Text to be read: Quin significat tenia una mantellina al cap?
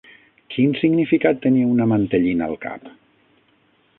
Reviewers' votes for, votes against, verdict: 9, 0, accepted